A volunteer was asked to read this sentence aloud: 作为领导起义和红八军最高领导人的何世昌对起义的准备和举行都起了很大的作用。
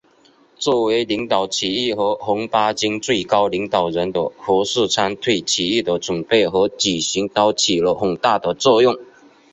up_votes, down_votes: 2, 0